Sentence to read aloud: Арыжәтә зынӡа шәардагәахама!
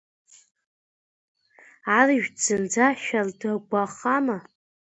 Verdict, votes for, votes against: rejected, 0, 2